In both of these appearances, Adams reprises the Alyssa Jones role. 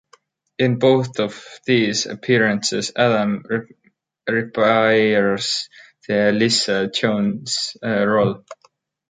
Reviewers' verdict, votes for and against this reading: rejected, 0, 2